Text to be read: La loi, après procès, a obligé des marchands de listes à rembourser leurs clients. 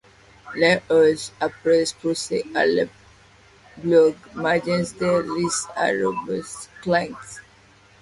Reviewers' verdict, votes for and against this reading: rejected, 0, 2